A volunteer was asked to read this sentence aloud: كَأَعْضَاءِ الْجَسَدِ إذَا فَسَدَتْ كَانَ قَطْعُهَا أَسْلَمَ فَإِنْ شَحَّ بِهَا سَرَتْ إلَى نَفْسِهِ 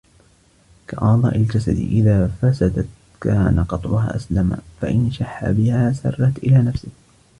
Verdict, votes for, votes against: rejected, 1, 2